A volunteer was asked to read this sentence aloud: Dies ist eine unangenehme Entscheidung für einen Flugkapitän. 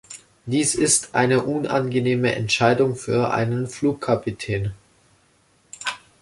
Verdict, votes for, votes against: accepted, 2, 0